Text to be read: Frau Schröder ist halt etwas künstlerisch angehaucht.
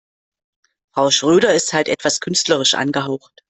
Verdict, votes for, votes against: accepted, 2, 0